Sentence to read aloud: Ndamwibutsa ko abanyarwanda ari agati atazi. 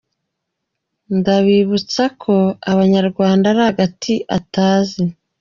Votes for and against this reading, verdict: 2, 1, accepted